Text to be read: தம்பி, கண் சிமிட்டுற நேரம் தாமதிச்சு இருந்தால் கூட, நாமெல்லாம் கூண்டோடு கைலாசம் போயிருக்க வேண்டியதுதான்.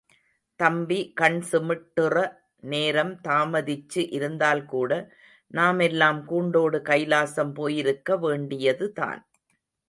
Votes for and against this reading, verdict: 2, 0, accepted